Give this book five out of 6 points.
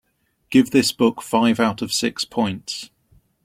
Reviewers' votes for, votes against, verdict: 0, 2, rejected